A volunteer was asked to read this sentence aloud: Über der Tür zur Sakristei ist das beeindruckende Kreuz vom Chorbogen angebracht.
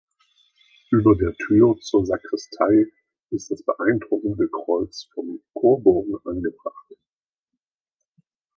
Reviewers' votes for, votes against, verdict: 2, 0, accepted